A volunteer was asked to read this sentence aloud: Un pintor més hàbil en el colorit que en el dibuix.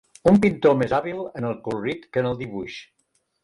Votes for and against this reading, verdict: 4, 1, accepted